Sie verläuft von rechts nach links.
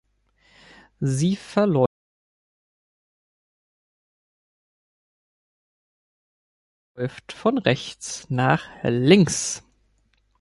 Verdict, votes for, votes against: rejected, 0, 2